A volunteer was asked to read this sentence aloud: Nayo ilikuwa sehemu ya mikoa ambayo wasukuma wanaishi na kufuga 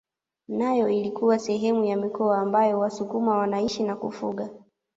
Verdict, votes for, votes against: accepted, 2, 0